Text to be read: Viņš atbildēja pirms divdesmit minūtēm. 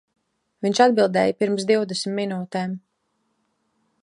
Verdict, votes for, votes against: accepted, 2, 0